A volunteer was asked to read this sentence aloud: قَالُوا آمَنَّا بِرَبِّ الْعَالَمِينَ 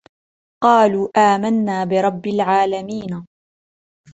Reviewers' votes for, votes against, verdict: 1, 2, rejected